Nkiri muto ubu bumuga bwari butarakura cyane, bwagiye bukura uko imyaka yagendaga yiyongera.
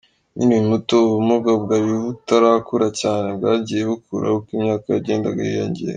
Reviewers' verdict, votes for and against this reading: accepted, 2, 0